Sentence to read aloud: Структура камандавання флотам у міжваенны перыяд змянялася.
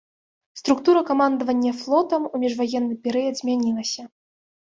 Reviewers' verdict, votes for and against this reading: rejected, 1, 2